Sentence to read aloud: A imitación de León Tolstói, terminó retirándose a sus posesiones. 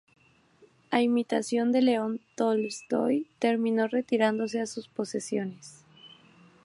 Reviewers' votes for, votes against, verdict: 4, 0, accepted